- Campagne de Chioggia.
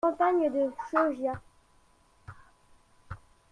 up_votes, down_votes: 1, 2